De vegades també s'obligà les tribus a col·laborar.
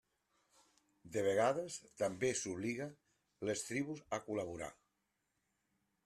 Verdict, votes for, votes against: rejected, 0, 2